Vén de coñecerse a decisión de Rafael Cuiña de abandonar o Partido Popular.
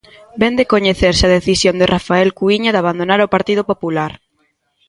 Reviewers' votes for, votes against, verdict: 1, 2, rejected